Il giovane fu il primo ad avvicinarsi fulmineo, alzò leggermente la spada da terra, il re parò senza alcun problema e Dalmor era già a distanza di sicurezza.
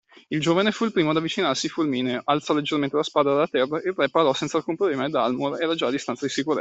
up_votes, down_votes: 2, 1